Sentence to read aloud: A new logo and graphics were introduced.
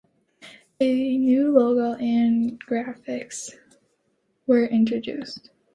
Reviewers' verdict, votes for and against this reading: accepted, 3, 0